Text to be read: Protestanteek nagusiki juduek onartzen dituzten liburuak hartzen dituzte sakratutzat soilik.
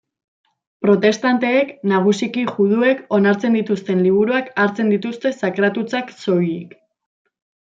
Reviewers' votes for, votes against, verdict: 1, 2, rejected